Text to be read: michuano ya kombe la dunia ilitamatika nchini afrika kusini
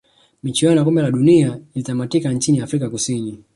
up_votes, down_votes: 2, 0